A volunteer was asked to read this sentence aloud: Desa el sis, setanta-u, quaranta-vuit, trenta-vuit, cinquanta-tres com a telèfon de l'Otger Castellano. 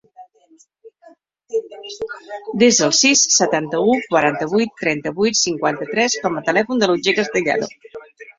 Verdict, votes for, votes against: accepted, 2, 0